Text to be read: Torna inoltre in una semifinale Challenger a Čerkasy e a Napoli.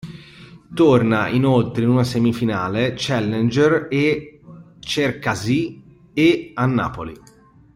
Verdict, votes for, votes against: rejected, 0, 2